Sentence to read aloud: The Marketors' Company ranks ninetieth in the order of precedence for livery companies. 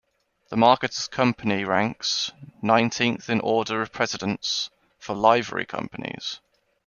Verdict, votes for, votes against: rejected, 1, 2